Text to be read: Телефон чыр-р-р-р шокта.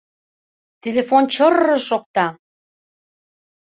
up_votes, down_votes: 2, 0